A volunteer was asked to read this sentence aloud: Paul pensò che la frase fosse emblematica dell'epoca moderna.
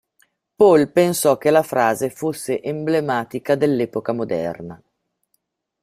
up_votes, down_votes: 2, 0